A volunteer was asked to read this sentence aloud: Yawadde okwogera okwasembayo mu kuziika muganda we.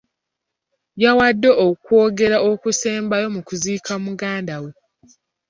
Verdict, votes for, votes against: rejected, 1, 2